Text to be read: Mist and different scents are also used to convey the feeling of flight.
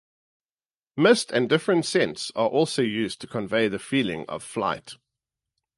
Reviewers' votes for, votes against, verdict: 2, 0, accepted